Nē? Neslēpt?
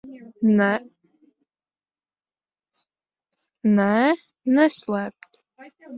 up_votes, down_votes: 0, 8